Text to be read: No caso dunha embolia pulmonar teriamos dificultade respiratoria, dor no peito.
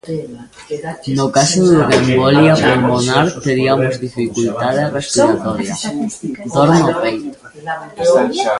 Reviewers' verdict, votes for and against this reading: rejected, 0, 2